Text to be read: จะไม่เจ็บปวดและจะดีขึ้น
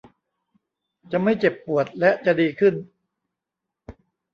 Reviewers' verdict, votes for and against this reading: accepted, 2, 0